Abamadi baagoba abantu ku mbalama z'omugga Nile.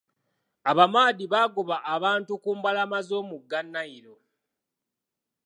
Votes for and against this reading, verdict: 2, 1, accepted